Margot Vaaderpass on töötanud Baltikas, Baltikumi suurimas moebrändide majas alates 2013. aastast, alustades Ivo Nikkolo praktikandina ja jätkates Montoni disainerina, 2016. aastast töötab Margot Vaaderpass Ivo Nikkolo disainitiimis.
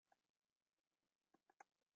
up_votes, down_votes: 0, 2